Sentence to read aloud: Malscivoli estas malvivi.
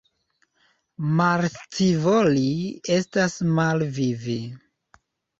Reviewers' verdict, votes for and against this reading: rejected, 1, 2